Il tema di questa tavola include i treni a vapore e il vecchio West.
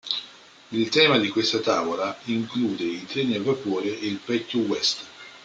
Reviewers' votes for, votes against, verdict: 2, 0, accepted